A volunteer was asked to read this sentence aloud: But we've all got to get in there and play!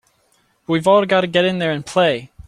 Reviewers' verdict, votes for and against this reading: rejected, 0, 2